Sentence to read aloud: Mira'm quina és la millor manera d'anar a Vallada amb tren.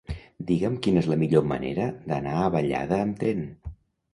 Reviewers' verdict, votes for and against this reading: rejected, 0, 2